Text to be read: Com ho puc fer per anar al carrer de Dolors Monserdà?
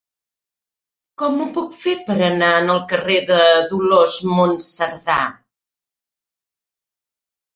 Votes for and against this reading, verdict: 2, 1, accepted